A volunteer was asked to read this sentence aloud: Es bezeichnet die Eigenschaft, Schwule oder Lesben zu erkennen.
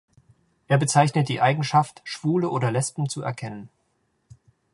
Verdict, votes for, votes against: rejected, 0, 2